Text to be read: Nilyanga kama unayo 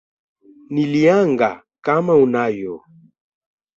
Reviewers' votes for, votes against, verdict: 2, 0, accepted